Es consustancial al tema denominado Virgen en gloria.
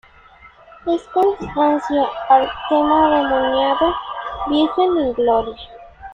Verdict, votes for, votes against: rejected, 0, 2